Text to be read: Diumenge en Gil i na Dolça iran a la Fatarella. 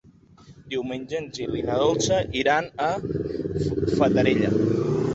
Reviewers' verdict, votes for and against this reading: rejected, 0, 2